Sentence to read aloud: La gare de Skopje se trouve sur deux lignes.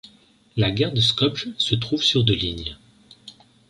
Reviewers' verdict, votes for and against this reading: rejected, 0, 2